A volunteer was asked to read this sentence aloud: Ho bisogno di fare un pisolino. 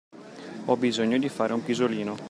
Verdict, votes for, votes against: accepted, 2, 0